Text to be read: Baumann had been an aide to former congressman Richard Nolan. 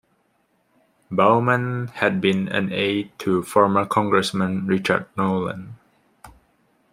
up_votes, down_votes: 2, 0